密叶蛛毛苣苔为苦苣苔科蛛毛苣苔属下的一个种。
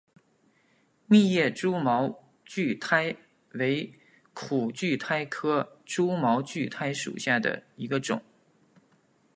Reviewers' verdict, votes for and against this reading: accepted, 3, 0